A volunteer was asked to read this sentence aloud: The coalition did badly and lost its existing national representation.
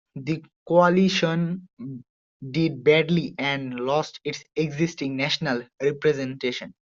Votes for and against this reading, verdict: 1, 2, rejected